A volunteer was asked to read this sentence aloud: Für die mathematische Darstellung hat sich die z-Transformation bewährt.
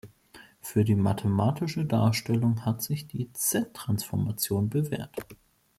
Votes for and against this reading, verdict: 2, 0, accepted